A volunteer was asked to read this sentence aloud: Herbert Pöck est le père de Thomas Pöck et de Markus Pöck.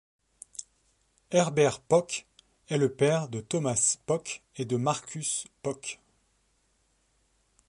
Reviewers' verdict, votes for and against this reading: accepted, 2, 0